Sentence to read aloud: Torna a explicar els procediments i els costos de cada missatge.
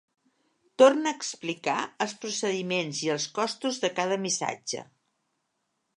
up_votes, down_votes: 3, 0